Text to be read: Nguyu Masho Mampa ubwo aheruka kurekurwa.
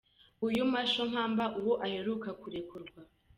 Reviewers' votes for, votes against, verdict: 2, 0, accepted